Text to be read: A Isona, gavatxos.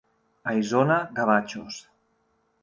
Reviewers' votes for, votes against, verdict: 3, 0, accepted